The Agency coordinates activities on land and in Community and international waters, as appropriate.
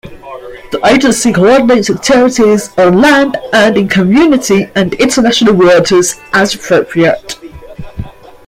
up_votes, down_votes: 2, 1